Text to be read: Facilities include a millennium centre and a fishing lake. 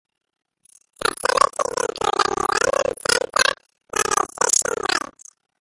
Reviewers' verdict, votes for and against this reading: rejected, 0, 2